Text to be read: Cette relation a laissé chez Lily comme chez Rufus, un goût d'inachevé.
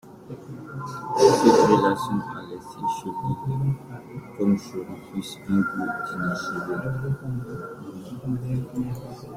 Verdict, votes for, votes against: rejected, 0, 2